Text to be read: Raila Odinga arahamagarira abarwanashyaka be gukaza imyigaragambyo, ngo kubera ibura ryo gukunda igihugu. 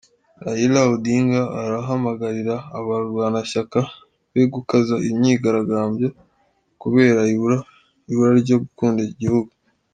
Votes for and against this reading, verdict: 1, 2, rejected